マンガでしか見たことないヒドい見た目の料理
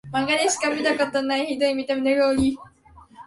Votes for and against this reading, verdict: 2, 0, accepted